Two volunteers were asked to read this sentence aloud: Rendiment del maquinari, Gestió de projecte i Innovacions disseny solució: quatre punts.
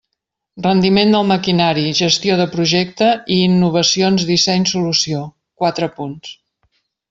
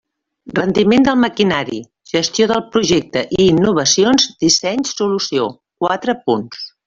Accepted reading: first